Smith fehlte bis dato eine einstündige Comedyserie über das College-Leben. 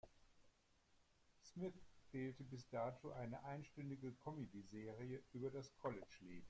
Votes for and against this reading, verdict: 2, 0, accepted